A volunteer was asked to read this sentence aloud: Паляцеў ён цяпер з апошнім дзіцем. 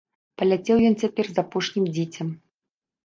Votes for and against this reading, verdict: 1, 2, rejected